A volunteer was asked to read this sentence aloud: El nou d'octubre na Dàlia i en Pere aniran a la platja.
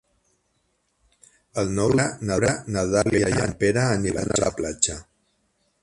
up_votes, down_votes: 0, 4